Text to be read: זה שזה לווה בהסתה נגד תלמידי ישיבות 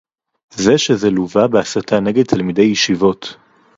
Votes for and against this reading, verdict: 2, 0, accepted